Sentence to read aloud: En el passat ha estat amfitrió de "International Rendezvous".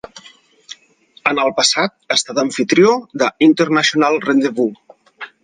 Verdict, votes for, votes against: accepted, 4, 0